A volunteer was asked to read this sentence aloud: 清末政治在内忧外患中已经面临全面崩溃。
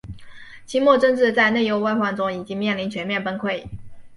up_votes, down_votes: 2, 0